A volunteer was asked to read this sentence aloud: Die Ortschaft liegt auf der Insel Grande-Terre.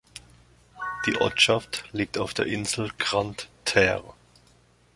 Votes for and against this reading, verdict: 2, 0, accepted